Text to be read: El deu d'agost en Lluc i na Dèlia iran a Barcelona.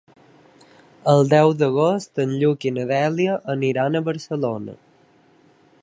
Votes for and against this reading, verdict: 1, 2, rejected